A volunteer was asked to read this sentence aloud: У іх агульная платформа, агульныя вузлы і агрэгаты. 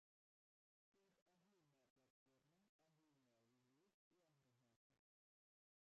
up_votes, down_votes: 0, 2